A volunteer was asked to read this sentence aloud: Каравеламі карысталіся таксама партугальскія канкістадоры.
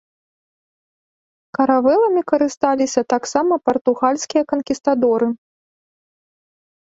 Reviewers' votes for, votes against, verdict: 1, 2, rejected